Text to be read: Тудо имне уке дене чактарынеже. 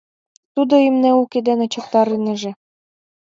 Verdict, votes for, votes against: rejected, 1, 2